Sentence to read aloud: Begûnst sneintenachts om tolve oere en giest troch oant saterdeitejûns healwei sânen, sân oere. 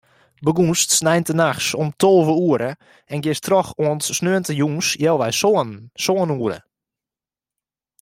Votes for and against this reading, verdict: 1, 2, rejected